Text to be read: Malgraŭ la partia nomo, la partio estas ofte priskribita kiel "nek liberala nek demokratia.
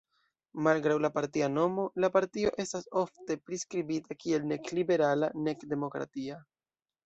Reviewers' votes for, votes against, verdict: 2, 0, accepted